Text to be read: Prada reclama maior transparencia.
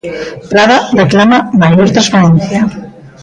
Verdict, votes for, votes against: rejected, 1, 2